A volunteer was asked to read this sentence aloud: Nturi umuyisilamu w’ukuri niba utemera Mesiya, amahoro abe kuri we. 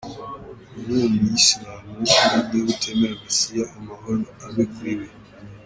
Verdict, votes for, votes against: rejected, 0, 2